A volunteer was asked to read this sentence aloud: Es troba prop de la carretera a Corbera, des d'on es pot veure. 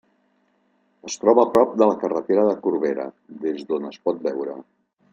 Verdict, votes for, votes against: accepted, 2, 1